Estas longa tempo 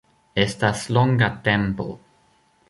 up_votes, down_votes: 2, 0